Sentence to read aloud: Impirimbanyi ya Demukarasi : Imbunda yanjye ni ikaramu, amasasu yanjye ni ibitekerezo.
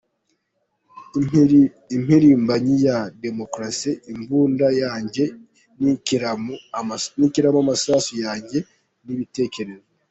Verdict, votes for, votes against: rejected, 0, 2